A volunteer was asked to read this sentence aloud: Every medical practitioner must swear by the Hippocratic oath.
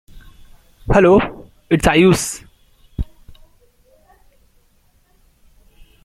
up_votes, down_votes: 0, 2